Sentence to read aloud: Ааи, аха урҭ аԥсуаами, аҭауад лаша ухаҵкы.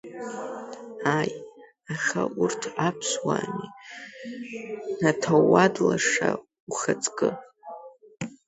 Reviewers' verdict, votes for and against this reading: accepted, 5, 2